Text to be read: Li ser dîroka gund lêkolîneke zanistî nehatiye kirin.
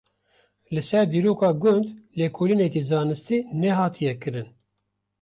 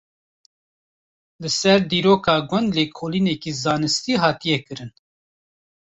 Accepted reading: first